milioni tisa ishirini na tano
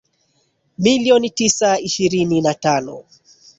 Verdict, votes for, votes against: rejected, 1, 2